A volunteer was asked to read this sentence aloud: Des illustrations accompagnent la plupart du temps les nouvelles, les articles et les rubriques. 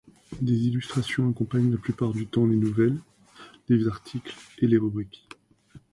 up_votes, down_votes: 2, 0